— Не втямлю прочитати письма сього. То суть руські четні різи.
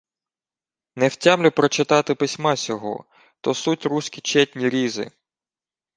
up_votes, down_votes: 2, 0